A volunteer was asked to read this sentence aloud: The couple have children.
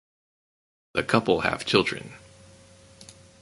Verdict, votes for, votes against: accepted, 4, 0